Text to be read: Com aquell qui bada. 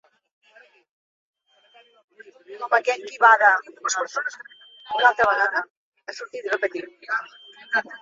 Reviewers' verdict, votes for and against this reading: rejected, 0, 2